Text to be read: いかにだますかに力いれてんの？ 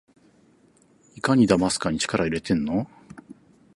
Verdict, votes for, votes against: accepted, 4, 0